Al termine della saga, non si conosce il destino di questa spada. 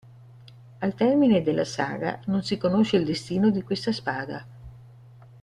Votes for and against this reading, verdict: 1, 2, rejected